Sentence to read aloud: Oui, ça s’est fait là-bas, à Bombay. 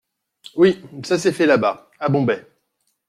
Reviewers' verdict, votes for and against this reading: accepted, 2, 0